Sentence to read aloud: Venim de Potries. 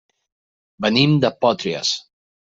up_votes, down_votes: 1, 2